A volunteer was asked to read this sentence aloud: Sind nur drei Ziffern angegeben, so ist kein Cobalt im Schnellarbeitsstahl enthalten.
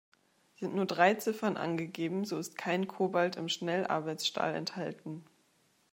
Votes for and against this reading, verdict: 2, 0, accepted